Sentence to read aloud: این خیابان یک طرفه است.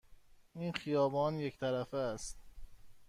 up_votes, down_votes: 2, 0